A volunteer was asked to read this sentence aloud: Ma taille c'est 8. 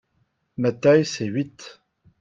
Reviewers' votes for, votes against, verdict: 0, 2, rejected